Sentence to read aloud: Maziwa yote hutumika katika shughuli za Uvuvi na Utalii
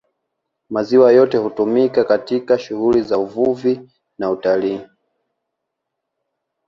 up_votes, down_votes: 2, 0